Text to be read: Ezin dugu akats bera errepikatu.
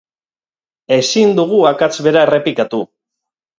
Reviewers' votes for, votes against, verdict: 4, 0, accepted